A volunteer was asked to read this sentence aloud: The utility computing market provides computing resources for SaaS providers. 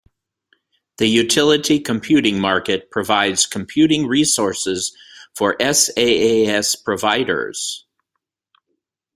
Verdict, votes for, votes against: accepted, 2, 0